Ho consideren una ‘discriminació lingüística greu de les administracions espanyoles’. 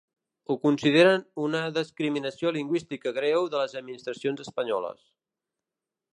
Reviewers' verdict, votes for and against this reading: rejected, 0, 2